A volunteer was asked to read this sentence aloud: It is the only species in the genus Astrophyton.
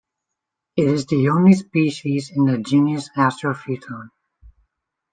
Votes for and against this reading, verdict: 2, 1, accepted